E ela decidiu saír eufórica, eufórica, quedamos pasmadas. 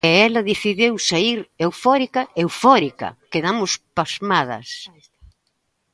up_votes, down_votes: 2, 0